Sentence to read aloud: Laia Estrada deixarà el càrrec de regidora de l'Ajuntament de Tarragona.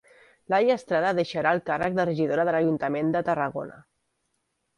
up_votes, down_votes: 1, 2